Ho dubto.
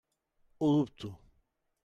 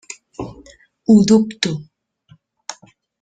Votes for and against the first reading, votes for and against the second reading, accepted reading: 1, 2, 3, 0, second